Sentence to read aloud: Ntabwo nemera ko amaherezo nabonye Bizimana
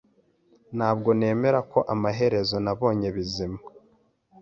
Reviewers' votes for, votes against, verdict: 1, 2, rejected